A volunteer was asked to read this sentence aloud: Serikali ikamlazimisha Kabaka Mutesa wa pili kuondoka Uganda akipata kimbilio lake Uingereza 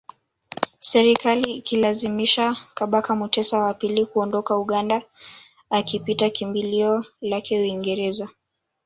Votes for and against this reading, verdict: 1, 2, rejected